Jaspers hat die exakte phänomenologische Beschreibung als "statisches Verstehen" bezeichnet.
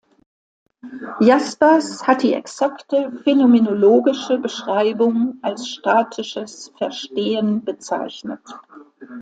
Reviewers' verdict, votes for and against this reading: accepted, 2, 0